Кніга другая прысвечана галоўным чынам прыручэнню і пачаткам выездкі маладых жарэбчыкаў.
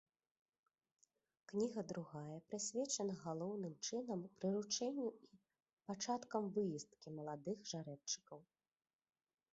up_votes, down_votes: 1, 2